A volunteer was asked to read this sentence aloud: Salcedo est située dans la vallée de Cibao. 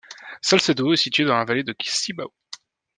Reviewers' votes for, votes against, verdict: 1, 2, rejected